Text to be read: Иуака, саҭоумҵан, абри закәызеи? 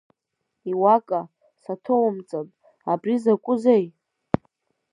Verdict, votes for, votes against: rejected, 1, 2